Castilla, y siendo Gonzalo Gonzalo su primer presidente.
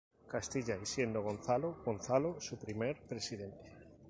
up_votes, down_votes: 0, 2